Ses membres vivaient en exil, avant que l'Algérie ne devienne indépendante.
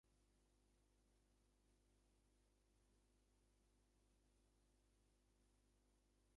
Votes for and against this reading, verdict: 0, 2, rejected